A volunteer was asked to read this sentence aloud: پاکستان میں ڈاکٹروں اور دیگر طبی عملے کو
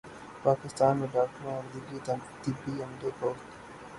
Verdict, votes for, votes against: rejected, 0, 3